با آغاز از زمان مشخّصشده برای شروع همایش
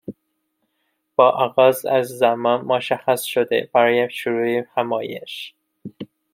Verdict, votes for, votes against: rejected, 0, 2